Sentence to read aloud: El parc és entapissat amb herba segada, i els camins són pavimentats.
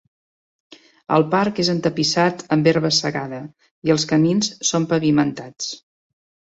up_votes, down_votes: 3, 0